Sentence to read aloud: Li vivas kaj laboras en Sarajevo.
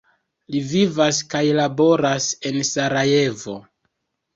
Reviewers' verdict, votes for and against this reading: rejected, 1, 2